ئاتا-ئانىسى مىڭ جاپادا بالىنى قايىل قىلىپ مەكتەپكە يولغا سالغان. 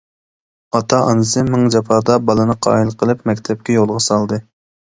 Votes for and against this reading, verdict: 0, 2, rejected